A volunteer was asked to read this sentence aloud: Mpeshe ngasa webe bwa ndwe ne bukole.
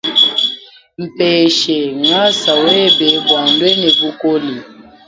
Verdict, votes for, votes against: rejected, 1, 2